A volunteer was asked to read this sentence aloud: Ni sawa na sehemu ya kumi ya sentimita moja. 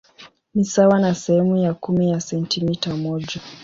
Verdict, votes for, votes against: accepted, 2, 0